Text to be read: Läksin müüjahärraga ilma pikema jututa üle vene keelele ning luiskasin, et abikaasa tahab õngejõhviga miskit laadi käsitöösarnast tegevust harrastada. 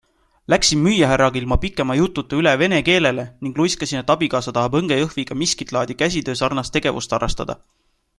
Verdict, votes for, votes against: accepted, 2, 0